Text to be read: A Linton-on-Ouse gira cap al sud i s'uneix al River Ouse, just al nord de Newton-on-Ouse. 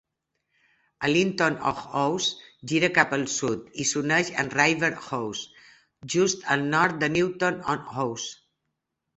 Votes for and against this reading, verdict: 2, 0, accepted